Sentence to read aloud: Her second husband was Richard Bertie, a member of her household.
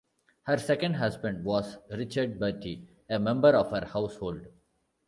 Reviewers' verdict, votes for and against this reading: accepted, 2, 0